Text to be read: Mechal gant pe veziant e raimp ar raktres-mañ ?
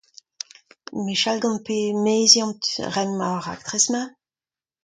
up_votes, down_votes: 1, 2